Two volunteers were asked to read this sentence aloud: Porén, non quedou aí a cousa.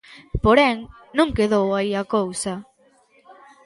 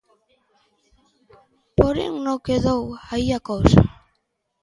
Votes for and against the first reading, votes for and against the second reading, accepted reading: 2, 0, 0, 2, first